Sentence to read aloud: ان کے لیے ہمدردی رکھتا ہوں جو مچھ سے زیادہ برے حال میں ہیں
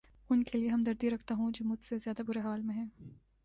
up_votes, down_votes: 1, 2